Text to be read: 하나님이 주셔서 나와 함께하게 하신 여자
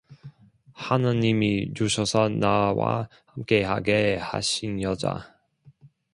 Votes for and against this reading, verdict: 2, 1, accepted